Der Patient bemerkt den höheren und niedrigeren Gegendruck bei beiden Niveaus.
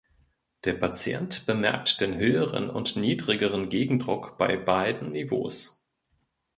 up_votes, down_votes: 2, 0